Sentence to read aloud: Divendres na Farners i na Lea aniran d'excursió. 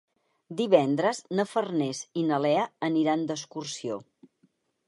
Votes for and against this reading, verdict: 4, 0, accepted